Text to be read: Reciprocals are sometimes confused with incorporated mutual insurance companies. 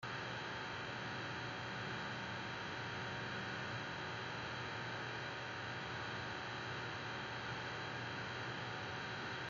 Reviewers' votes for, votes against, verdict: 0, 2, rejected